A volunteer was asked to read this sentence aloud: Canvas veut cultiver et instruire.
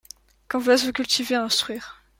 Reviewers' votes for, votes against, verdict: 0, 2, rejected